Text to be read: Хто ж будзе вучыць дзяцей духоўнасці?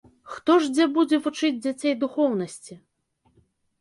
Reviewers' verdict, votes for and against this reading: rejected, 2, 4